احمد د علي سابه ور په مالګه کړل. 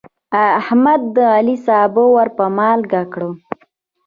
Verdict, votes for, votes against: rejected, 1, 2